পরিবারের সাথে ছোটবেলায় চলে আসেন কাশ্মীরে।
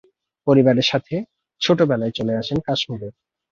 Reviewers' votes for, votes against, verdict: 2, 0, accepted